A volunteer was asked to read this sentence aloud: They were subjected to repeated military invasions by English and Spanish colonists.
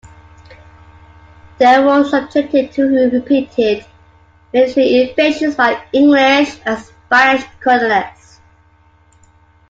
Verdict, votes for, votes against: accepted, 2, 1